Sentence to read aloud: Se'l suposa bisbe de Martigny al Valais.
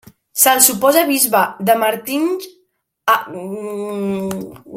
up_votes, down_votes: 0, 2